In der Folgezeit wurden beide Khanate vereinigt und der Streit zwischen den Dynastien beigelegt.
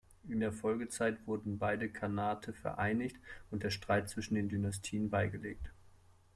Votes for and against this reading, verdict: 2, 0, accepted